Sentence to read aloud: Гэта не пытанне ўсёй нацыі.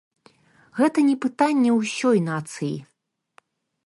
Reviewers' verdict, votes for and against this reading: accepted, 2, 0